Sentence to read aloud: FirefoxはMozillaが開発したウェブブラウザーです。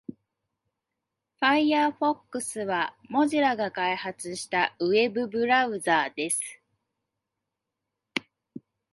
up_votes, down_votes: 2, 0